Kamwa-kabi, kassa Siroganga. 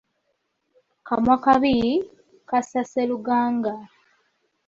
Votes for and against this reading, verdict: 0, 2, rejected